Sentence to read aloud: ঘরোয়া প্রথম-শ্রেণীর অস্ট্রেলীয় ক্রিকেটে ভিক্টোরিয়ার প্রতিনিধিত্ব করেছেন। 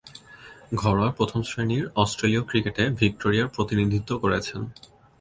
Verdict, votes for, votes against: accepted, 2, 0